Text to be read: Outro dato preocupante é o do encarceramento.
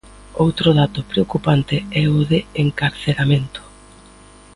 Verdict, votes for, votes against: rejected, 0, 2